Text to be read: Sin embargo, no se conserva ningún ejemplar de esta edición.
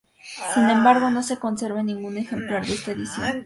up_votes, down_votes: 2, 2